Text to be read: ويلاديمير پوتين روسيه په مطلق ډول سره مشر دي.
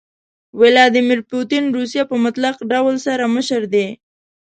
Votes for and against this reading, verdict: 3, 1, accepted